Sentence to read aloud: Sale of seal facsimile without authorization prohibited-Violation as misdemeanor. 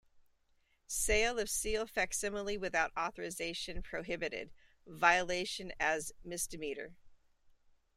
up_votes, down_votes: 2, 0